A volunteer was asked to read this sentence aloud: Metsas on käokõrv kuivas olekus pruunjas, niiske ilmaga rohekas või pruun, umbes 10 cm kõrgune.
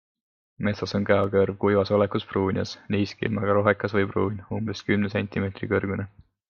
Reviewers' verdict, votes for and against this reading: rejected, 0, 2